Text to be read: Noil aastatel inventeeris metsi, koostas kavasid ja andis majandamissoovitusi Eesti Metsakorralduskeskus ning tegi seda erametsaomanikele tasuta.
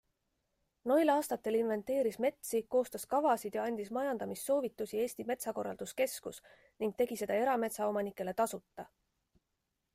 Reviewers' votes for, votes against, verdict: 2, 0, accepted